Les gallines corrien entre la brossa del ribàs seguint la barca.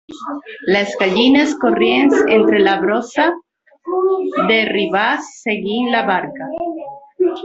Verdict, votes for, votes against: rejected, 0, 2